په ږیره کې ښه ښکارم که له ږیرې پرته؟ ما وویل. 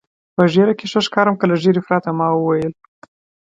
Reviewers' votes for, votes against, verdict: 2, 0, accepted